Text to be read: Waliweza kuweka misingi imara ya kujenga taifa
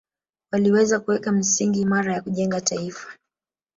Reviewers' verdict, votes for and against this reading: accepted, 2, 0